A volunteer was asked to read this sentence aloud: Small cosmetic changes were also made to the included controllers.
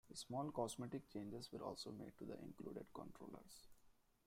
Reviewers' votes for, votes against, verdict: 0, 2, rejected